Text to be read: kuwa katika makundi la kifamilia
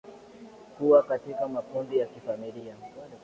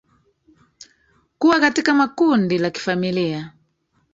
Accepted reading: first